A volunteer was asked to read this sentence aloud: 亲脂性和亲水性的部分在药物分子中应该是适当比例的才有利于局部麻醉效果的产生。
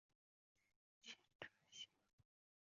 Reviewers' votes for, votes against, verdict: 0, 3, rejected